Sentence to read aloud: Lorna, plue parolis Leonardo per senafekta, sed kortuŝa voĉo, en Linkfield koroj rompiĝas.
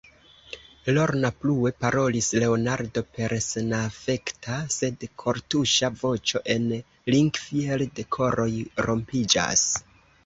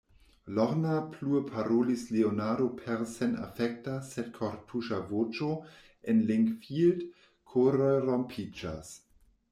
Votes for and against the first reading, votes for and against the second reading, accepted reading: 2, 0, 1, 2, first